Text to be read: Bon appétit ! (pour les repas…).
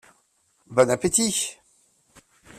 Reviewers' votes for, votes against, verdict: 1, 2, rejected